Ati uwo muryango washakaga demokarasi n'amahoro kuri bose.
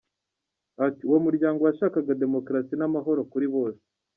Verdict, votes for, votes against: accepted, 2, 0